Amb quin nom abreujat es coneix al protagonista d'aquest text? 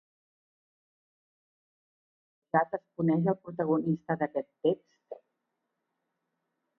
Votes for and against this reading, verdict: 2, 4, rejected